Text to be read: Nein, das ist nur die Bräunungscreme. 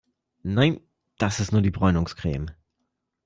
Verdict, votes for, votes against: accepted, 2, 0